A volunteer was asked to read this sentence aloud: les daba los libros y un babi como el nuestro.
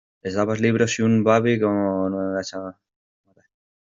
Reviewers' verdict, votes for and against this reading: rejected, 0, 2